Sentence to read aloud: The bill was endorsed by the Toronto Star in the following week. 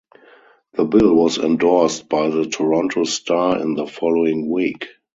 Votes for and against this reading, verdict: 0, 2, rejected